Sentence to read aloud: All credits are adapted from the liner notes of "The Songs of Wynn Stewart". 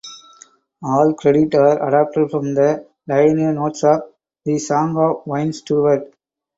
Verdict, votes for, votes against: rejected, 2, 4